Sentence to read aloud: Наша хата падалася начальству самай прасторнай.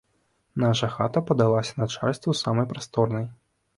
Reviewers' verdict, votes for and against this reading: accepted, 2, 0